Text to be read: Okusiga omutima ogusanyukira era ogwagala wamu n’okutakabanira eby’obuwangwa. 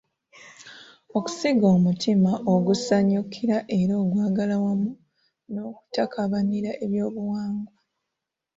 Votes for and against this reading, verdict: 2, 0, accepted